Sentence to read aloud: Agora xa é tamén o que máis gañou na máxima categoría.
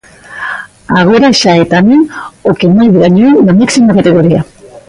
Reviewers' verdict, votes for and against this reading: rejected, 1, 2